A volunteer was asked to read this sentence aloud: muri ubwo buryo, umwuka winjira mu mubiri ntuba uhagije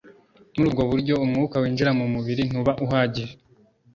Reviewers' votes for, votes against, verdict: 2, 0, accepted